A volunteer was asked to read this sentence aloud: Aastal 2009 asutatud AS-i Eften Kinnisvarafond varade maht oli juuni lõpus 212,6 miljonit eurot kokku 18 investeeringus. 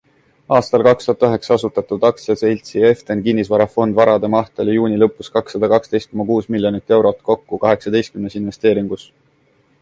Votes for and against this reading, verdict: 0, 2, rejected